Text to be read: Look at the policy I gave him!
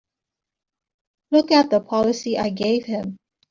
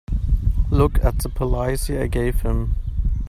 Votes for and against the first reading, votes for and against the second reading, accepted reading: 2, 0, 1, 2, first